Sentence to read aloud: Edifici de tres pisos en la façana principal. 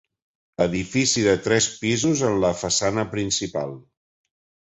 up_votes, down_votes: 4, 0